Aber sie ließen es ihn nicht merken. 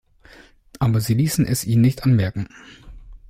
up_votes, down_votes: 1, 2